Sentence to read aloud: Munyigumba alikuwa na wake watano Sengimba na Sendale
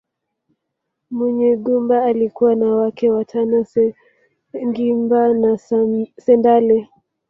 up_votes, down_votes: 0, 2